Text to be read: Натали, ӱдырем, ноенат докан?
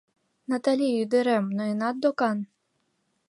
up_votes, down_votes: 2, 0